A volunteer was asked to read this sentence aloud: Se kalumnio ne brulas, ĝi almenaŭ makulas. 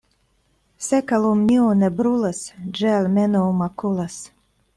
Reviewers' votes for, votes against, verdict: 2, 0, accepted